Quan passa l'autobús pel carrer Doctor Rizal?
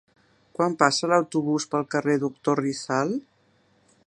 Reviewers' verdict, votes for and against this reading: accepted, 2, 0